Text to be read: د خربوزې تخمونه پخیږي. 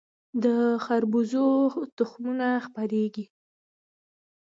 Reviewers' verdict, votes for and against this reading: accepted, 2, 0